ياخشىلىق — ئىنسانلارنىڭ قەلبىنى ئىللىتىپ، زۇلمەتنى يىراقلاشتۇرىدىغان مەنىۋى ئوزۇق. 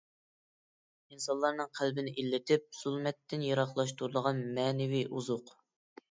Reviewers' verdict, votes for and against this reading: rejected, 1, 2